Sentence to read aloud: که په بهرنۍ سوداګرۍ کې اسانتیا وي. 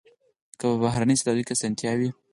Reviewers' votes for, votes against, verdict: 4, 0, accepted